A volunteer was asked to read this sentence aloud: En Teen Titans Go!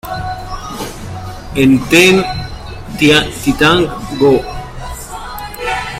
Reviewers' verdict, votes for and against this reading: rejected, 0, 2